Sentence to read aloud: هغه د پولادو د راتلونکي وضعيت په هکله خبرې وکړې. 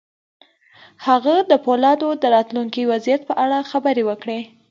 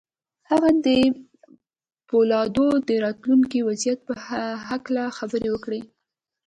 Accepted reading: second